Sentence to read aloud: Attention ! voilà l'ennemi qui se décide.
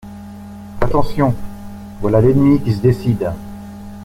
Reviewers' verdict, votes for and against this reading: accepted, 2, 0